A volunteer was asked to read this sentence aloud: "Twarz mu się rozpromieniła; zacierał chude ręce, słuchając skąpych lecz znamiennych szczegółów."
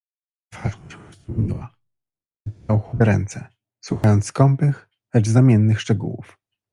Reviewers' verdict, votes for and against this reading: rejected, 0, 2